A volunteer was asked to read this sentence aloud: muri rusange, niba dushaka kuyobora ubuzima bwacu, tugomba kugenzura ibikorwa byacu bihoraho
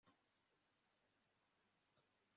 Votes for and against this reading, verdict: 1, 2, rejected